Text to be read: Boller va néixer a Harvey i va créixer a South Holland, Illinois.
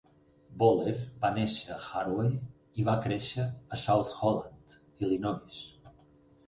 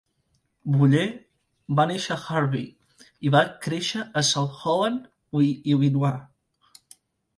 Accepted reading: first